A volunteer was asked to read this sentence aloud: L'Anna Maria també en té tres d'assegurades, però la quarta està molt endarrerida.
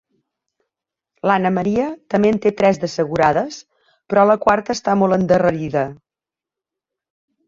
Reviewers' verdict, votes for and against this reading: accepted, 2, 1